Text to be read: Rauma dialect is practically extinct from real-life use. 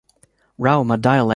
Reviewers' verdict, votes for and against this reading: rejected, 0, 3